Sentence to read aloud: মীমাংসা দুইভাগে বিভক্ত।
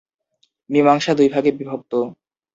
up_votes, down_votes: 3, 0